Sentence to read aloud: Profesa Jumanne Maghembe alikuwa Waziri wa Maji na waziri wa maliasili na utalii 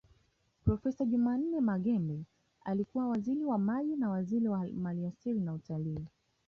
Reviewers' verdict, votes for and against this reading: accepted, 2, 0